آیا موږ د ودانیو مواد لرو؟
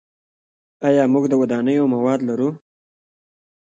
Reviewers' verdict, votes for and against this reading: rejected, 0, 2